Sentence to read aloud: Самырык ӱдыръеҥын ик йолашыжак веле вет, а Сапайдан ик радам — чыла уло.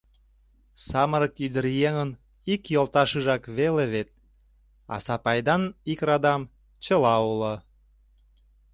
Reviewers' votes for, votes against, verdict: 1, 2, rejected